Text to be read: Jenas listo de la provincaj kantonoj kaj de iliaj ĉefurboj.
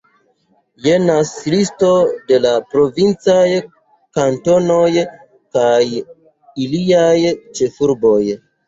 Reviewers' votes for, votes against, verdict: 1, 2, rejected